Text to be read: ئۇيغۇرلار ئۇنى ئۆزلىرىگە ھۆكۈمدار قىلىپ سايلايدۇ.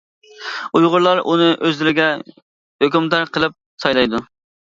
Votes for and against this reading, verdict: 3, 0, accepted